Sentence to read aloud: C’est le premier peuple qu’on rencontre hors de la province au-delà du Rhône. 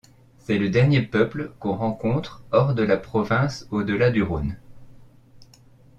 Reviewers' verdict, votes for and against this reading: rejected, 0, 2